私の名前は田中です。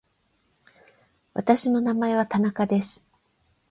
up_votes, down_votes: 4, 8